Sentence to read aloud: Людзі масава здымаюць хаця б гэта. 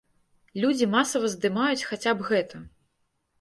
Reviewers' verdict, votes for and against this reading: accepted, 2, 0